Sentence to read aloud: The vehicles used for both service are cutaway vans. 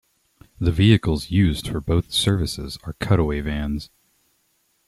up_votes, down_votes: 1, 2